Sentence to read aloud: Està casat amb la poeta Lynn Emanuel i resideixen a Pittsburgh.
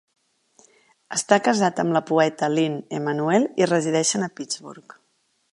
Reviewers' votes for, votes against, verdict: 3, 0, accepted